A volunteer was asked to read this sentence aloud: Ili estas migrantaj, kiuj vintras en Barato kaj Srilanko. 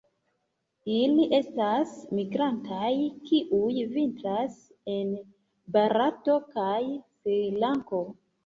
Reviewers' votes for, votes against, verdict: 0, 2, rejected